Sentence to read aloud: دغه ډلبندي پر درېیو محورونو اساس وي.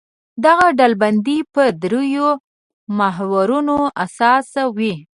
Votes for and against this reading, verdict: 2, 1, accepted